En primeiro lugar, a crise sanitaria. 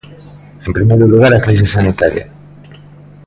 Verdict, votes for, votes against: accepted, 2, 1